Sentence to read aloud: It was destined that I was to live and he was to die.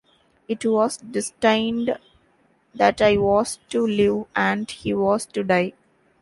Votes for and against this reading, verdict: 0, 2, rejected